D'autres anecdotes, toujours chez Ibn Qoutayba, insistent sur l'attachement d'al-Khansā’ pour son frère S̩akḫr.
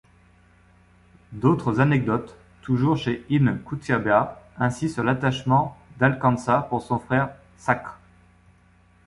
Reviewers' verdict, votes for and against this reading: rejected, 1, 2